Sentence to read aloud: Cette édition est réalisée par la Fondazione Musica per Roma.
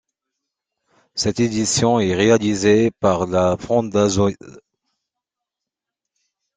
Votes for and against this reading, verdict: 0, 2, rejected